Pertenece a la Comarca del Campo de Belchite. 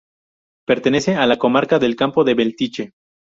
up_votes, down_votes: 0, 2